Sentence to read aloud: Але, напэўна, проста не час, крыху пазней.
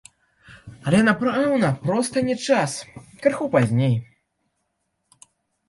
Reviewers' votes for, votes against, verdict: 0, 2, rejected